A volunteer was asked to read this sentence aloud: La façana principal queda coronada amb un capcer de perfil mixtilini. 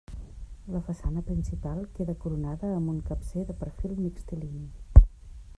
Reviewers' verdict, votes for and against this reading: rejected, 0, 2